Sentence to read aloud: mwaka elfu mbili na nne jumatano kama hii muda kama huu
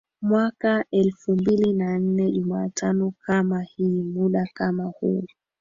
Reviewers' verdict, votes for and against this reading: accepted, 2, 0